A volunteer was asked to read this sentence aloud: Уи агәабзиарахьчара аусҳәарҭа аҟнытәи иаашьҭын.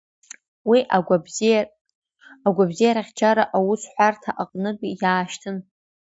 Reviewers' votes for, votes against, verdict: 0, 2, rejected